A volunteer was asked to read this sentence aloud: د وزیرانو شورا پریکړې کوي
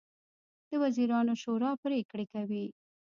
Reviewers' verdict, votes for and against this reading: rejected, 1, 2